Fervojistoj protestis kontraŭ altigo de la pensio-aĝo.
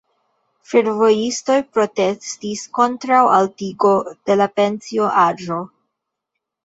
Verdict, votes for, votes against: accepted, 2, 0